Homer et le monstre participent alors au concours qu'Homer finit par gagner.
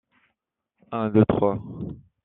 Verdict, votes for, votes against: rejected, 0, 2